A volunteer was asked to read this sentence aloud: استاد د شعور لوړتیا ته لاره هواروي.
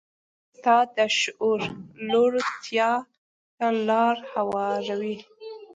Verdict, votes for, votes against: rejected, 0, 2